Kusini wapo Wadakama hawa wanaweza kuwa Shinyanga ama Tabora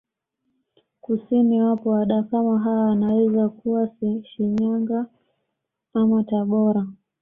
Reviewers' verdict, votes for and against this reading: accepted, 2, 0